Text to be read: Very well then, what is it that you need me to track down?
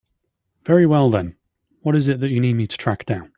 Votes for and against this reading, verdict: 2, 0, accepted